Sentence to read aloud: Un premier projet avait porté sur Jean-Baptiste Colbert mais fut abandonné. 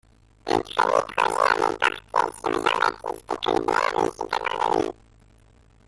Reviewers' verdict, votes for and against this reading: rejected, 0, 2